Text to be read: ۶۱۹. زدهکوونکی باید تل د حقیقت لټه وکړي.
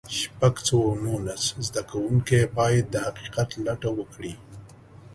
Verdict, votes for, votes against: rejected, 0, 2